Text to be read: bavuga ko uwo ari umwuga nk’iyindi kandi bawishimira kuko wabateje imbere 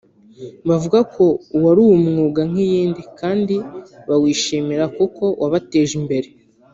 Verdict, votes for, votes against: rejected, 0, 2